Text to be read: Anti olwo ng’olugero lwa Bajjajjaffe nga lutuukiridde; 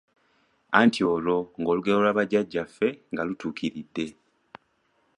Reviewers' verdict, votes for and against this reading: accepted, 2, 1